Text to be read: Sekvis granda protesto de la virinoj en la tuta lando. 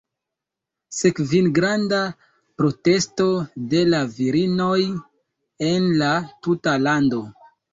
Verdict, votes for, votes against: rejected, 1, 2